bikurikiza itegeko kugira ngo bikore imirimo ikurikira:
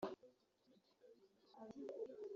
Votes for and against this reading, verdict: 0, 2, rejected